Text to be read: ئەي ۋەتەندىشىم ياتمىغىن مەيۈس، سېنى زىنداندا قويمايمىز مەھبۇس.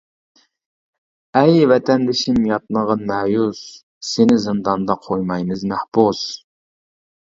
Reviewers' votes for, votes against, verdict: 0, 2, rejected